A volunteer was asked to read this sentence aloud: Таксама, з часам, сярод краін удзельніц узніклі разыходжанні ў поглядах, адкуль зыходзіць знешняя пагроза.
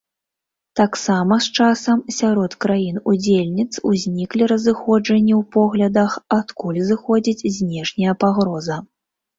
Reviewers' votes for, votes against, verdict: 2, 0, accepted